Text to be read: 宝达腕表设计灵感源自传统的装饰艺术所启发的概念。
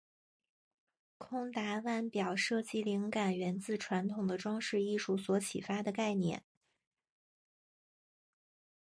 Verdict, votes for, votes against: accepted, 3, 1